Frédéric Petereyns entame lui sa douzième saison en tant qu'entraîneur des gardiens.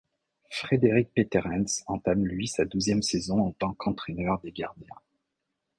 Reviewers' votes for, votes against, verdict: 1, 2, rejected